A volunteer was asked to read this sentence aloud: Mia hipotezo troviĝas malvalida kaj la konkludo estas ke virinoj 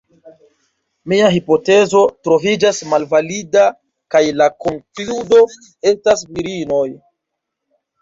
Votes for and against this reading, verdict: 1, 2, rejected